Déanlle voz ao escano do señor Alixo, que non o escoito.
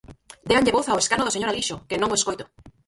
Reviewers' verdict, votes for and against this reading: rejected, 0, 4